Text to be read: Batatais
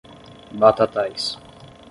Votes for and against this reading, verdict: 10, 0, accepted